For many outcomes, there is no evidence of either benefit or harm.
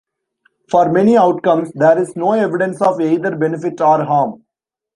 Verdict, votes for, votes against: rejected, 0, 2